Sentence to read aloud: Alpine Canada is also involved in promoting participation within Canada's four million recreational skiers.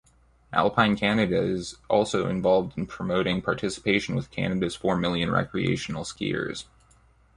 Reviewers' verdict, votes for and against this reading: accepted, 2, 0